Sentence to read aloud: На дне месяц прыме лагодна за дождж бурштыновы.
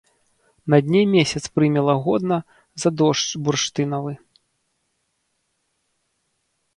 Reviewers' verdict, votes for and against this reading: rejected, 1, 2